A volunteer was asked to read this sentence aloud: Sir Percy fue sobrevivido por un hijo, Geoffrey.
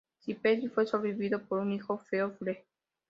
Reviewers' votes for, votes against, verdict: 2, 0, accepted